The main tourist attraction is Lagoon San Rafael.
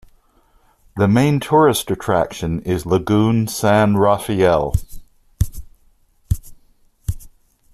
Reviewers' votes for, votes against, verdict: 2, 0, accepted